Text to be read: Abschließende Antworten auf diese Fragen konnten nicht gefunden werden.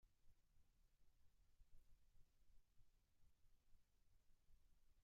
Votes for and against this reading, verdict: 0, 2, rejected